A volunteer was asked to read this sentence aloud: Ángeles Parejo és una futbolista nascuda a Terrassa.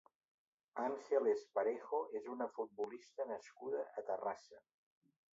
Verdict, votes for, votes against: accepted, 2, 0